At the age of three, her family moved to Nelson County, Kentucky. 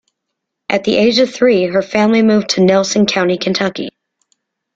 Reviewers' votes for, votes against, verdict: 2, 0, accepted